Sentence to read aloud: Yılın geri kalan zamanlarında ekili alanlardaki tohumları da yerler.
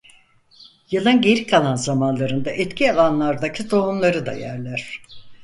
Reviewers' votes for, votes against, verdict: 0, 4, rejected